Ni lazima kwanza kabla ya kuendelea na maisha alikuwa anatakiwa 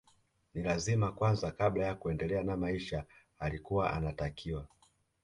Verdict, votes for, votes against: accepted, 2, 0